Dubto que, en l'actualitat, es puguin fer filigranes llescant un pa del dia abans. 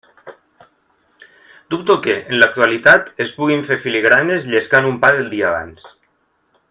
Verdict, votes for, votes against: accepted, 2, 0